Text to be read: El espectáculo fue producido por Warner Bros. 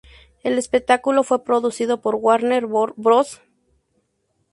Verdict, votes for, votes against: rejected, 0, 2